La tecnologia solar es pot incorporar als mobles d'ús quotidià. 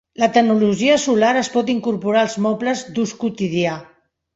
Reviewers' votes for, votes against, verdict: 3, 0, accepted